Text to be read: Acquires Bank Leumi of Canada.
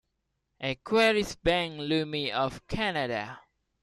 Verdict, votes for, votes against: rejected, 0, 2